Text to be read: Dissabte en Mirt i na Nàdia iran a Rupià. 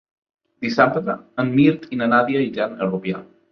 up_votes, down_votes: 4, 0